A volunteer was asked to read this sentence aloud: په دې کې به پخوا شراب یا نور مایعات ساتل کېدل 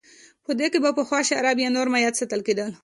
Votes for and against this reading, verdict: 2, 0, accepted